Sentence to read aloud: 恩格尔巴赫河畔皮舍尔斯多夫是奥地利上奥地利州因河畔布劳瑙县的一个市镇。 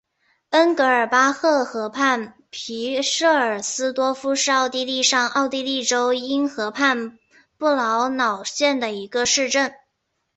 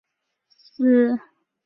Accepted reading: first